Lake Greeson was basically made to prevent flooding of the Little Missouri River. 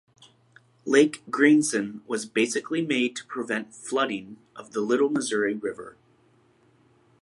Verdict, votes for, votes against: accepted, 2, 1